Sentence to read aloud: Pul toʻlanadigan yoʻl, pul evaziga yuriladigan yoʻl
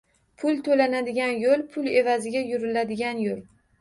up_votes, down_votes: 1, 2